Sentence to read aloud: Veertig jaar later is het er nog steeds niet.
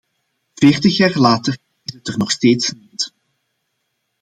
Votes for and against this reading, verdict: 0, 2, rejected